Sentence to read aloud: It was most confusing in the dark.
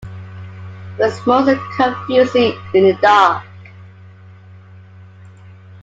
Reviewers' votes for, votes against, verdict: 2, 1, accepted